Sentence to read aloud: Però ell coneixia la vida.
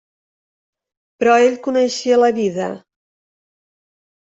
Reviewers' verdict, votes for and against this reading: accepted, 3, 0